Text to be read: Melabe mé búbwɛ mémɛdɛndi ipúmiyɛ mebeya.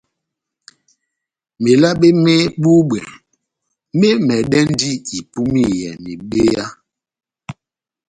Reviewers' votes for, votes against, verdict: 2, 0, accepted